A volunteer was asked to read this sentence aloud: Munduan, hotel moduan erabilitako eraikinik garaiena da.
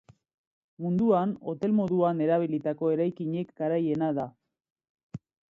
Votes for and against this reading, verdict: 2, 0, accepted